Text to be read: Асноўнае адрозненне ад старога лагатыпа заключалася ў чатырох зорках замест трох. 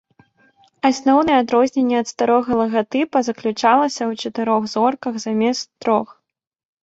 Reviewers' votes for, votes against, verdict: 2, 0, accepted